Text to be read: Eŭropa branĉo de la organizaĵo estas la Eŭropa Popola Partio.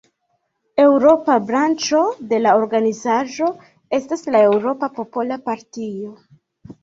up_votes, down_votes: 2, 0